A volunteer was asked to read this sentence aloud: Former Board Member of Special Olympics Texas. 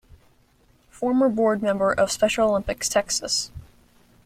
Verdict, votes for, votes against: accepted, 2, 0